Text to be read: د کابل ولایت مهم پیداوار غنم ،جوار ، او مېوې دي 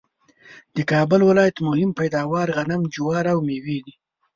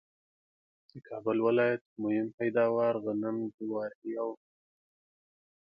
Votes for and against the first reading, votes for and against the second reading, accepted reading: 2, 0, 0, 2, first